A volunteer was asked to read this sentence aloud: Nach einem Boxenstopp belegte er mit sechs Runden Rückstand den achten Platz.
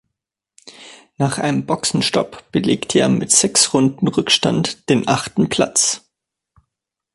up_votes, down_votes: 3, 0